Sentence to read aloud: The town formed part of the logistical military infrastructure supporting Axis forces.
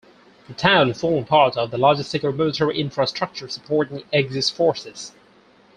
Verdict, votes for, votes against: rejected, 0, 4